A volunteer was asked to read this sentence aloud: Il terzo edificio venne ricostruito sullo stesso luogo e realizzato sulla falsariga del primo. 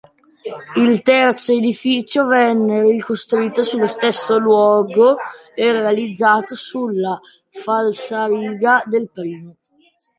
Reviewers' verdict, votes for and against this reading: accepted, 2, 0